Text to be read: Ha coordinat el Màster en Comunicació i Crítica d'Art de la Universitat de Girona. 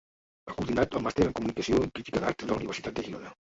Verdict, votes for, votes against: rejected, 1, 3